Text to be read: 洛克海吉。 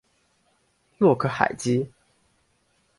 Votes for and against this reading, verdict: 2, 0, accepted